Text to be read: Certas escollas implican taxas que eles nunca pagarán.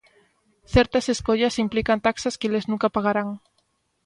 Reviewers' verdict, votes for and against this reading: rejected, 1, 2